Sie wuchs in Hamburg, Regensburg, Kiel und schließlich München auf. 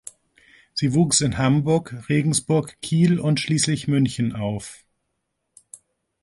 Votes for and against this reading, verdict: 3, 0, accepted